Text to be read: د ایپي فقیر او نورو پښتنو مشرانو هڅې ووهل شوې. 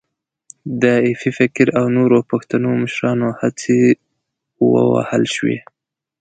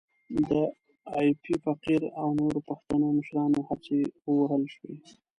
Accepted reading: first